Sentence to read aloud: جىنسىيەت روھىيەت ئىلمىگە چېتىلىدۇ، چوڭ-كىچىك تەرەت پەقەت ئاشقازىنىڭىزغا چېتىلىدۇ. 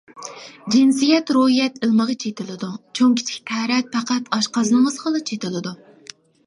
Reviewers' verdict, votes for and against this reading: rejected, 1, 2